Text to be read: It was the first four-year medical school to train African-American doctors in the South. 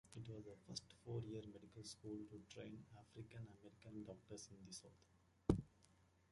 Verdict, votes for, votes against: rejected, 0, 2